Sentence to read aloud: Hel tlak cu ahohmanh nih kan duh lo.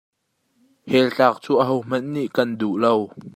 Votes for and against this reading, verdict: 1, 2, rejected